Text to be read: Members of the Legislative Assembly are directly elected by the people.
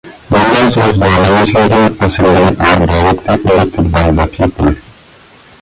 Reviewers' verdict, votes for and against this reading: rejected, 0, 2